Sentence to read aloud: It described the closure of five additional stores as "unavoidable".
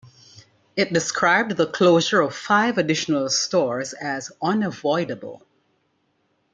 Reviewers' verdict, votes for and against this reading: accepted, 2, 1